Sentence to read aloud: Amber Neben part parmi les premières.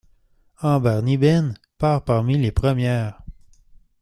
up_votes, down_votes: 0, 2